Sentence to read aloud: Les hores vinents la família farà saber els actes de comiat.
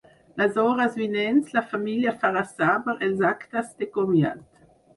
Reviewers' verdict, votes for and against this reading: rejected, 2, 4